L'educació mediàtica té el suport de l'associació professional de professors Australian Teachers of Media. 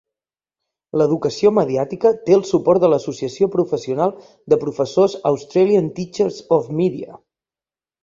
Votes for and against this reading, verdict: 2, 0, accepted